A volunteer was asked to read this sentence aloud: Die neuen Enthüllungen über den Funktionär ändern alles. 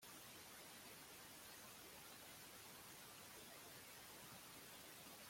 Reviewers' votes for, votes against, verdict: 0, 2, rejected